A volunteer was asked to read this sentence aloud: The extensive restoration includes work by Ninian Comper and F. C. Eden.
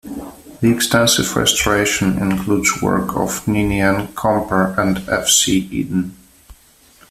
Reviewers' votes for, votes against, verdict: 2, 3, rejected